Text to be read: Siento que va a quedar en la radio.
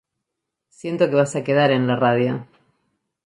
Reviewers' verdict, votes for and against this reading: accepted, 2, 0